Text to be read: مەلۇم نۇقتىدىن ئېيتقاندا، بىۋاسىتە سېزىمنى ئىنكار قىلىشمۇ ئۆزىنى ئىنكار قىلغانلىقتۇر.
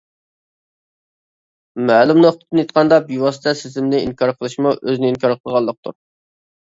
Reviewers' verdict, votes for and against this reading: accepted, 2, 1